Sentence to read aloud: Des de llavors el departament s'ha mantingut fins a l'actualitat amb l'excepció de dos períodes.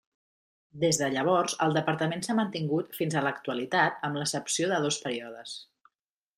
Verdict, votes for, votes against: rejected, 0, 2